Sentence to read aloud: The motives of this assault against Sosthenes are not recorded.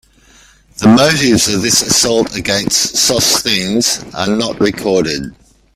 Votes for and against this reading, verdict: 1, 2, rejected